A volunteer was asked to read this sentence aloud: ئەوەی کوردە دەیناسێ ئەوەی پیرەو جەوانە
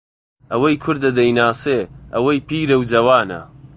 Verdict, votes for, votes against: accepted, 2, 0